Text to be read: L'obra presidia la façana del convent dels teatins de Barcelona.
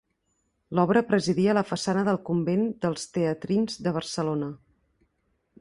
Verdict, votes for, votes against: rejected, 1, 3